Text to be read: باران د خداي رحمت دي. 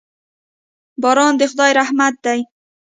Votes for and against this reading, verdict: 2, 0, accepted